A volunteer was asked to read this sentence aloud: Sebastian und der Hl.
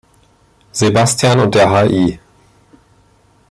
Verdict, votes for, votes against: rejected, 0, 2